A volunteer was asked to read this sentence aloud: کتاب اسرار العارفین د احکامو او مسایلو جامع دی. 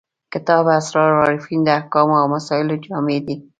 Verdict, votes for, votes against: accepted, 2, 0